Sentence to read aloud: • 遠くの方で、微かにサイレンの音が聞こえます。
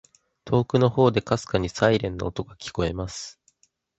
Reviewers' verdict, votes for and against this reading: accepted, 2, 0